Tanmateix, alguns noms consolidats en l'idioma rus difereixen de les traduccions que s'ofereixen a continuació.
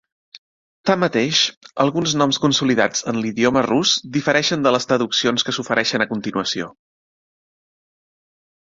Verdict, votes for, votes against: accepted, 3, 0